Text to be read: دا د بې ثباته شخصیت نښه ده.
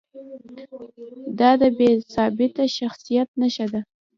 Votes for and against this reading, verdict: 0, 2, rejected